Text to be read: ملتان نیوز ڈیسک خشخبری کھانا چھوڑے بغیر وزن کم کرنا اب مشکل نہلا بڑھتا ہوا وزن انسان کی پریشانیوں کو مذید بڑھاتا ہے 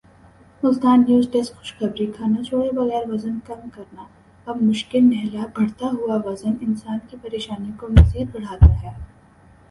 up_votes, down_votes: 7, 3